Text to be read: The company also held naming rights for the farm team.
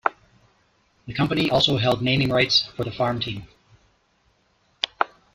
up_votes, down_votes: 2, 0